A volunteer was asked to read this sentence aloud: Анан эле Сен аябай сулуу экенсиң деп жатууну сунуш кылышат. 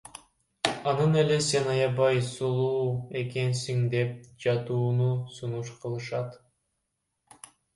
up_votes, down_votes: 1, 2